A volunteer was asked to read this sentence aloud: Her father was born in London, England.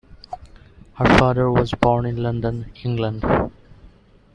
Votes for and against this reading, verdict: 2, 1, accepted